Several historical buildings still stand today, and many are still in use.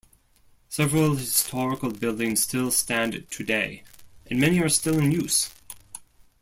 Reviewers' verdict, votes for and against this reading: rejected, 1, 2